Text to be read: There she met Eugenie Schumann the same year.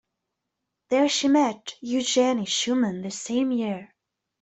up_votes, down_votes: 2, 0